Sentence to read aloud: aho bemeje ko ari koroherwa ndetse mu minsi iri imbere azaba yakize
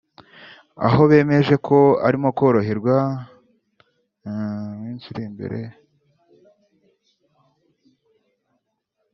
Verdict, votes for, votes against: rejected, 0, 3